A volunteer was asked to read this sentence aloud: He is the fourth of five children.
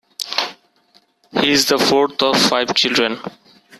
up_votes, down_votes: 1, 2